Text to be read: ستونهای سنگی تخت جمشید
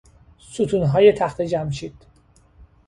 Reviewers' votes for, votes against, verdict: 0, 3, rejected